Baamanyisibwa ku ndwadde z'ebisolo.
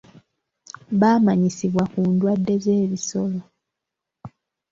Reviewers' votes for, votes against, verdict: 2, 1, accepted